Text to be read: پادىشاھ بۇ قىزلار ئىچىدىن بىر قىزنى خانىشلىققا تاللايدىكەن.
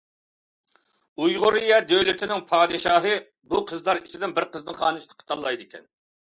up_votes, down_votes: 0, 2